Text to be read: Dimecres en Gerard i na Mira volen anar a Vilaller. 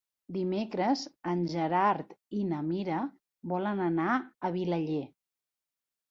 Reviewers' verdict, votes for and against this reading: accepted, 3, 0